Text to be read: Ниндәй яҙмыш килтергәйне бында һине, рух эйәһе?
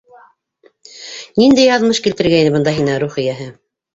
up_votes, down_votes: 0, 2